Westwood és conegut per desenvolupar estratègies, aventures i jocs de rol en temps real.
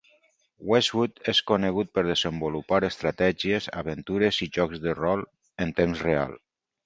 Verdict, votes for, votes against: accepted, 4, 0